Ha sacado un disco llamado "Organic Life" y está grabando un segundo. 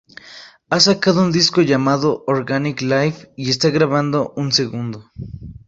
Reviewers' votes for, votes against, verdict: 2, 0, accepted